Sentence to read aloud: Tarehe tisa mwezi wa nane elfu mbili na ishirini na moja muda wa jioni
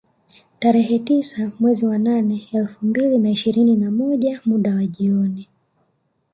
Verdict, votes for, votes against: rejected, 1, 2